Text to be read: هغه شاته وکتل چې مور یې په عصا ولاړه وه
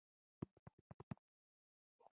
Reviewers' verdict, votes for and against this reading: rejected, 1, 2